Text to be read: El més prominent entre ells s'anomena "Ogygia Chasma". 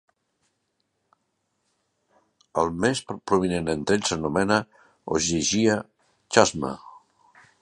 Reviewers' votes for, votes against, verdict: 2, 1, accepted